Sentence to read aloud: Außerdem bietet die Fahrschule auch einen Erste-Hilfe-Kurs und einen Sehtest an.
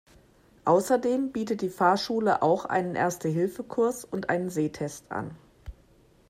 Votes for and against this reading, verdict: 2, 0, accepted